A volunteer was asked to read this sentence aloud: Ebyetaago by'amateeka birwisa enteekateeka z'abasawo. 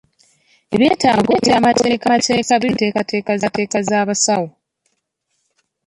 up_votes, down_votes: 0, 2